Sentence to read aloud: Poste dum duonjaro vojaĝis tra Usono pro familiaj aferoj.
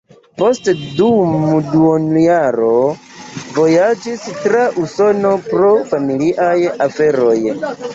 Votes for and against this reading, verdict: 2, 0, accepted